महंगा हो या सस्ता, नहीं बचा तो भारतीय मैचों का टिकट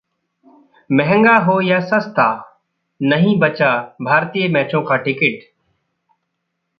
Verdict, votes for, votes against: rejected, 0, 2